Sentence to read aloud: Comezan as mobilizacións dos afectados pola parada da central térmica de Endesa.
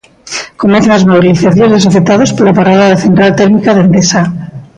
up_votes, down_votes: 0, 2